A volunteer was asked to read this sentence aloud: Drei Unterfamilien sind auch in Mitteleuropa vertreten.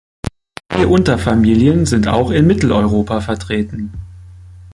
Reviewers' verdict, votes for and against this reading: rejected, 0, 2